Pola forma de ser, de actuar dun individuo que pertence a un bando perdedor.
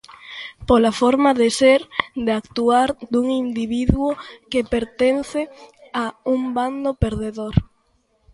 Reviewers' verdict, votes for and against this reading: accepted, 2, 0